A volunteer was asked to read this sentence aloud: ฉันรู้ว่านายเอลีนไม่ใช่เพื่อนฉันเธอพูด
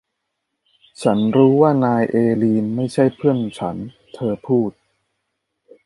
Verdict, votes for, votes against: accepted, 2, 0